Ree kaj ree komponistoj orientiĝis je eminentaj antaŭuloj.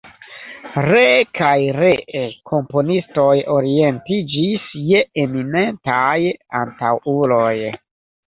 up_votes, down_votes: 1, 2